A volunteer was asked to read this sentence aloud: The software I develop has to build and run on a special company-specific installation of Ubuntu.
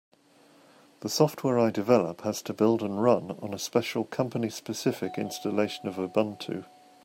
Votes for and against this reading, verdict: 3, 0, accepted